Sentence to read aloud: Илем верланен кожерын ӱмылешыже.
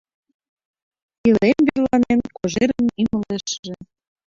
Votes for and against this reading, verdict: 1, 2, rejected